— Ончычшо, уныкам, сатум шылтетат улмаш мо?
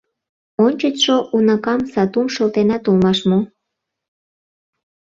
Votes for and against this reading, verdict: 1, 2, rejected